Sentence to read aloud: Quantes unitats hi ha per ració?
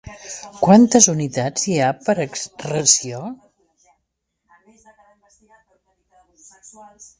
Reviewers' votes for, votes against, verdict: 1, 2, rejected